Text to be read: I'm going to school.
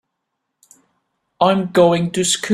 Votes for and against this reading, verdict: 0, 3, rejected